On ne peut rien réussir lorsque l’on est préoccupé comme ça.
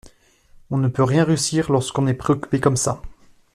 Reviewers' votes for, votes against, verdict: 2, 0, accepted